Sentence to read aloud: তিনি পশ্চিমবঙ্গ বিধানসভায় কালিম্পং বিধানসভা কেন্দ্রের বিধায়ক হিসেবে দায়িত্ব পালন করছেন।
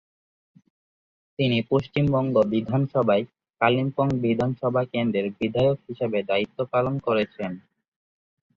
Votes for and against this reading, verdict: 2, 0, accepted